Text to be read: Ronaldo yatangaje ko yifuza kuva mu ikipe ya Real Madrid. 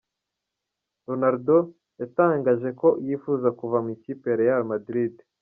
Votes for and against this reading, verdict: 2, 0, accepted